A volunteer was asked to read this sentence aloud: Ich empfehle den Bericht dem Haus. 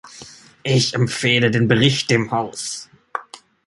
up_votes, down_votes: 2, 1